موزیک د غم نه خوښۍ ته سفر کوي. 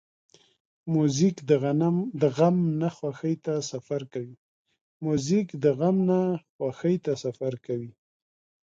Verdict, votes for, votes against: rejected, 0, 2